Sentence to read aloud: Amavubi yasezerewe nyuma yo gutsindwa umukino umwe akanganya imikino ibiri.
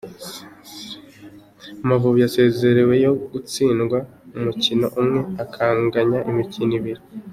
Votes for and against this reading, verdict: 2, 0, accepted